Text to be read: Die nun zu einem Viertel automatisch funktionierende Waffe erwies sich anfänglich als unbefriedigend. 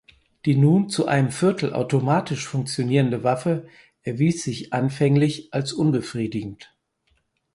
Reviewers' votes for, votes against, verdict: 4, 0, accepted